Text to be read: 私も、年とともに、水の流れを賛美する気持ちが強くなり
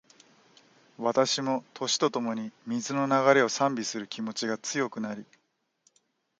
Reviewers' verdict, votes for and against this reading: accepted, 2, 1